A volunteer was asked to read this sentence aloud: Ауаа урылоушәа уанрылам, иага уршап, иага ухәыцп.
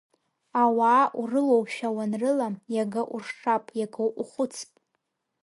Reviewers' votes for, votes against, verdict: 2, 1, accepted